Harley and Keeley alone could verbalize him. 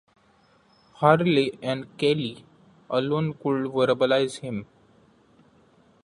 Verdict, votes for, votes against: accepted, 2, 0